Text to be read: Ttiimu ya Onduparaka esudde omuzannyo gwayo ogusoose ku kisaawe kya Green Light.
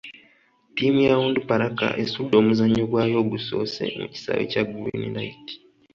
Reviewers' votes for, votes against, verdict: 1, 2, rejected